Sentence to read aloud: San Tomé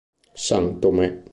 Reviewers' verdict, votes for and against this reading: accepted, 2, 1